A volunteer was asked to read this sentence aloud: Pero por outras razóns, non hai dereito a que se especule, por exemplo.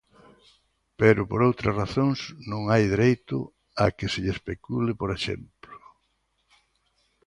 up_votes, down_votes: 0, 2